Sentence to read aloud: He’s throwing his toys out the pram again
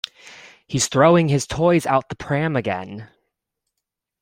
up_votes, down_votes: 2, 1